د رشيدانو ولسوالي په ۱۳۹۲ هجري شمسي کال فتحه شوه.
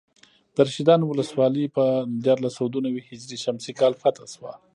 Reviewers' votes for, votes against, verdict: 0, 2, rejected